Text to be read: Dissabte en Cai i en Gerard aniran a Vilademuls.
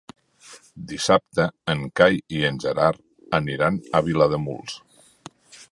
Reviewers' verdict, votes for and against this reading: accepted, 4, 0